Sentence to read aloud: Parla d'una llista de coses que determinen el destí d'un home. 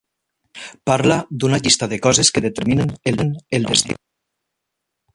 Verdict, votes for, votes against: rejected, 0, 2